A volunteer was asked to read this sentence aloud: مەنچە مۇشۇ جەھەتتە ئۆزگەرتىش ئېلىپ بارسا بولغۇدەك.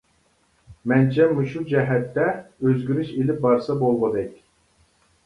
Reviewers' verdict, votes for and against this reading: rejected, 0, 2